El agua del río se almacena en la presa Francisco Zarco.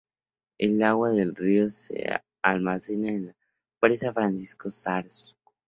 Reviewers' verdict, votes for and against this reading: rejected, 0, 2